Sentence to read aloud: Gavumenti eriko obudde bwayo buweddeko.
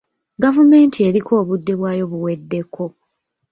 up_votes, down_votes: 2, 1